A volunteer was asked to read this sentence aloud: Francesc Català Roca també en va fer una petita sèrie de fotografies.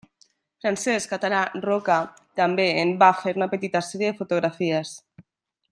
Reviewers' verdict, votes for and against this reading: rejected, 1, 2